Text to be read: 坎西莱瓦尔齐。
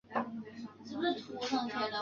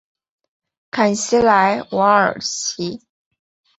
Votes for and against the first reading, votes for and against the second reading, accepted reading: 1, 3, 8, 0, second